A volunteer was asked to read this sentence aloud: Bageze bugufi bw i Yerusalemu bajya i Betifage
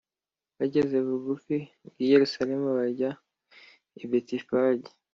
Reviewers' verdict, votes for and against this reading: accepted, 2, 0